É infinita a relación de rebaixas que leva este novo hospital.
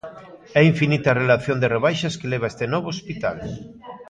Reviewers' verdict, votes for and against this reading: rejected, 1, 2